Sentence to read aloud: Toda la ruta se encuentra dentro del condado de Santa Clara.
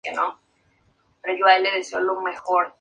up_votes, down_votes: 0, 2